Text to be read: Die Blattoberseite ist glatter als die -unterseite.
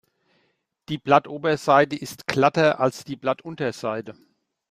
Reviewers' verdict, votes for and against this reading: rejected, 0, 2